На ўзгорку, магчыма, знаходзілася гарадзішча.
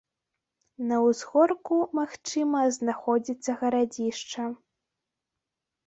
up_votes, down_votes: 0, 2